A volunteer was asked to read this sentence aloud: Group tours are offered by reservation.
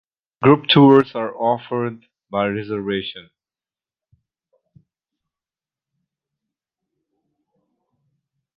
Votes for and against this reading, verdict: 2, 0, accepted